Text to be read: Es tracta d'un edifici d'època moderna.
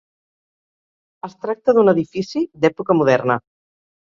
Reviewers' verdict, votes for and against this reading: accepted, 3, 0